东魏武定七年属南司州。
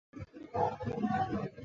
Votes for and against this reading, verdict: 1, 3, rejected